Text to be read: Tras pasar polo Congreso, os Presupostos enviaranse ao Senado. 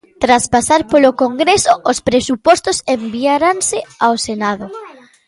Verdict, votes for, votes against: accepted, 2, 1